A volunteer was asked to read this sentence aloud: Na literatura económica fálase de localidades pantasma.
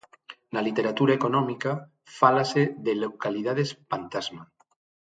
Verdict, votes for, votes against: accepted, 6, 0